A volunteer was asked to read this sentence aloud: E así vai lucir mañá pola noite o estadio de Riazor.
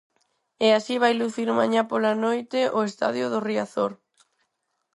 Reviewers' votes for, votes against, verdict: 2, 4, rejected